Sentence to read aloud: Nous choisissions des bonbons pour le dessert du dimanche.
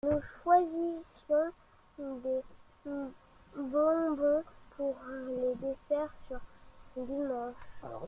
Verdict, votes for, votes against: rejected, 0, 2